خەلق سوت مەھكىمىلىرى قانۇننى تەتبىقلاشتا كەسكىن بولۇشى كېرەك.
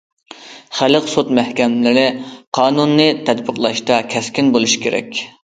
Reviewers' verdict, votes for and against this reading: rejected, 0, 2